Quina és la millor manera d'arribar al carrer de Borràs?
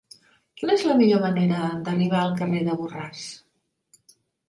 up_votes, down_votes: 2, 0